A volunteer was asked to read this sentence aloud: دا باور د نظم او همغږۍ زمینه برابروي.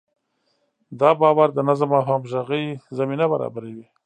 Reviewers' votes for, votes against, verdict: 1, 2, rejected